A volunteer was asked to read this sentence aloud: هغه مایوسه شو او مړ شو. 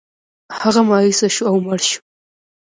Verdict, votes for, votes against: accepted, 2, 1